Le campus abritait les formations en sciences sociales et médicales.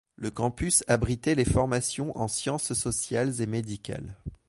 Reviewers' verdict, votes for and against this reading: accepted, 2, 0